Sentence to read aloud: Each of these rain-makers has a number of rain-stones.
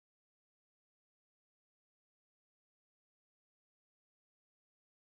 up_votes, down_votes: 0, 2